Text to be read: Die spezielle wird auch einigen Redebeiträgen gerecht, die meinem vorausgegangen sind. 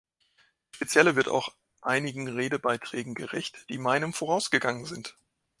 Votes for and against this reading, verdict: 1, 2, rejected